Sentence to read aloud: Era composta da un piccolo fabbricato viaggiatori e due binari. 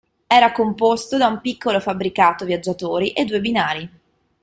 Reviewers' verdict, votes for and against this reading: rejected, 0, 2